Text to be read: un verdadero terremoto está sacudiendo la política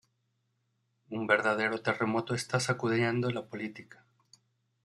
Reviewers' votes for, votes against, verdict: 2, 0, accepted